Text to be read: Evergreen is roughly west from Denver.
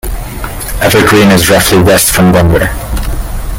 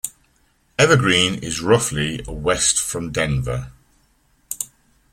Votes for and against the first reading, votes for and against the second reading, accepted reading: 1, 2, 2, 0, second